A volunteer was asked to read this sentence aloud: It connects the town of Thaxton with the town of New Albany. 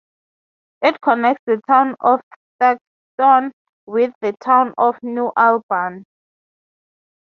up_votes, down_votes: 0, 6